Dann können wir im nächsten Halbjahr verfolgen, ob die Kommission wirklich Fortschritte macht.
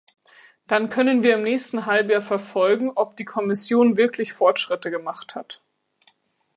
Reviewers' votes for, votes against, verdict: 1, 2, rejected